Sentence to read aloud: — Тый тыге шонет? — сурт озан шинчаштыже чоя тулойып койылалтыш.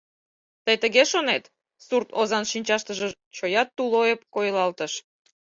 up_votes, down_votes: 4, 0